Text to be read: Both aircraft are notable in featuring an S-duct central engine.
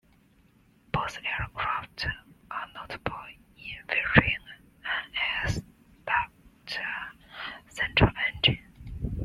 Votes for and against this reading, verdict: 0, 2, rejected